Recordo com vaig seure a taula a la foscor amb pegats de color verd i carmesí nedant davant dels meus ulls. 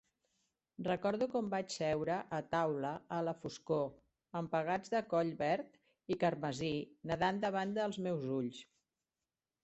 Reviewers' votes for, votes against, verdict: 1, 2, rejected